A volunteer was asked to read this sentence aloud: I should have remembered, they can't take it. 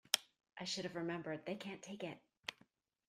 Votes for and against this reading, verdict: 0, 2, rejected